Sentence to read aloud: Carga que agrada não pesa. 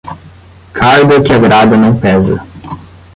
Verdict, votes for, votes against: rejected, 0, 10